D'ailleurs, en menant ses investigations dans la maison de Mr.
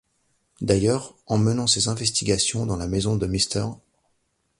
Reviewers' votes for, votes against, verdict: 2, 0, accepted